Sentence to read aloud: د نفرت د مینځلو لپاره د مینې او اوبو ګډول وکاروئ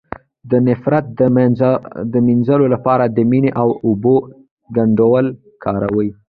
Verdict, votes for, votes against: rejected, 0, 2